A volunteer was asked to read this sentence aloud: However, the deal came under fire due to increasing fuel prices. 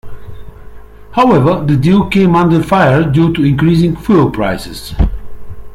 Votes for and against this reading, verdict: 2, 0, accepted